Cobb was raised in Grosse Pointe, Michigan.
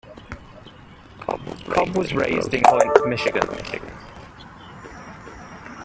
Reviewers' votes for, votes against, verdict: 0, 2, rejected